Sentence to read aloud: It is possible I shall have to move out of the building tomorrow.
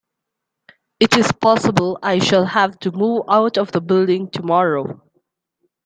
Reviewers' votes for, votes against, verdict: 2, 0, accepted